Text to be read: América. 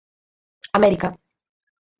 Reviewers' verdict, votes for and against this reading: accepted, 4, 0